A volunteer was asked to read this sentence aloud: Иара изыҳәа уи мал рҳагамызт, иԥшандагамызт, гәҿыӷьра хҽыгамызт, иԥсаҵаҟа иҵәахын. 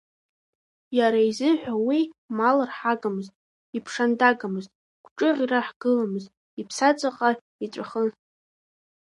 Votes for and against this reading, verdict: 2, 0, accepted